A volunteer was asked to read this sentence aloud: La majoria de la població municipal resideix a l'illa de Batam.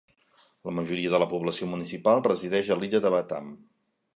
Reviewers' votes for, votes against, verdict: 3, 0, accepted